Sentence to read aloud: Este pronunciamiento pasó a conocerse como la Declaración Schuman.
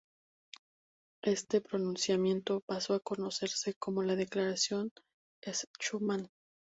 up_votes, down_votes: 2, 0